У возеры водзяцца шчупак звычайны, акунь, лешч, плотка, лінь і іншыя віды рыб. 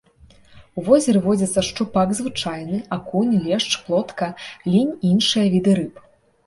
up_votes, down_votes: 2, 0